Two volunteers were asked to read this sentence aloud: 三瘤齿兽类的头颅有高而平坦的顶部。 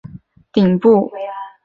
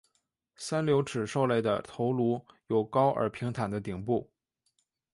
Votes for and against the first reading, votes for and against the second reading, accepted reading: 1, 7, 2, 0, second